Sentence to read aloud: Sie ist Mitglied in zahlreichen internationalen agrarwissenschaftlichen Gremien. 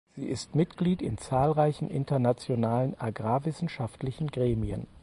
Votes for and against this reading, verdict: 4, 0, accepted